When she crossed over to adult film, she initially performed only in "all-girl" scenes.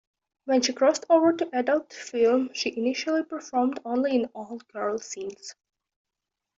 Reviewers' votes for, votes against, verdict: 2, 0, accepted